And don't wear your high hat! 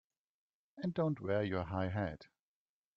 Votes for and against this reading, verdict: 2, 0, accepted